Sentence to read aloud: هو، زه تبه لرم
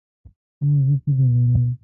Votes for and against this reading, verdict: 0, 2, rejected